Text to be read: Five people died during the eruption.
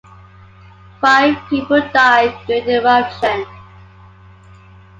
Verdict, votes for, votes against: accepted, 2, 1